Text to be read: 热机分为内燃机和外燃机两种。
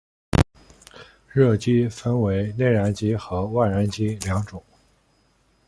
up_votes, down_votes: 0, 2